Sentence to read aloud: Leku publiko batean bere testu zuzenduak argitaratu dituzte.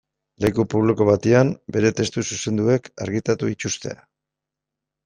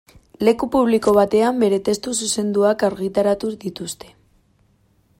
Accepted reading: second